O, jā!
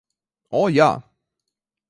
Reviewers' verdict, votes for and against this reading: accepted, 2, 0